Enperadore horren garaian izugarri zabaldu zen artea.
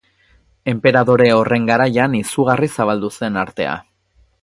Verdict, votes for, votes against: rejected, 2, 2